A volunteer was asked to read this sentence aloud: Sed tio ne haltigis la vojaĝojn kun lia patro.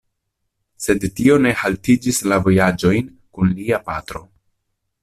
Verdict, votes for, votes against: rejected, 0, 2